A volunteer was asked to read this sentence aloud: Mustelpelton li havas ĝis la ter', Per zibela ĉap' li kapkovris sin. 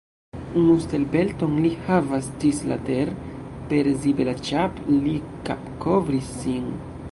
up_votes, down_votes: 0, 2